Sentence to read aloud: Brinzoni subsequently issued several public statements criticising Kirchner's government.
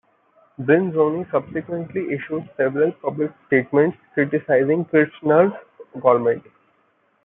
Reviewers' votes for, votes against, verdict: 1, 2, rejected